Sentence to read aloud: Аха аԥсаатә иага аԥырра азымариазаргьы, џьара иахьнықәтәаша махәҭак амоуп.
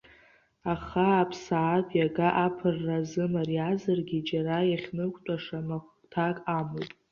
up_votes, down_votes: 1, 2